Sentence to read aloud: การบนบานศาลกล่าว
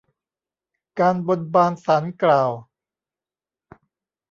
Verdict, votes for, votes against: accepted, 2, 0